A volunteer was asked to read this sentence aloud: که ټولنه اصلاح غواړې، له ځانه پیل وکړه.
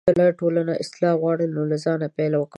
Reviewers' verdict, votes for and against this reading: accepted, 2, 1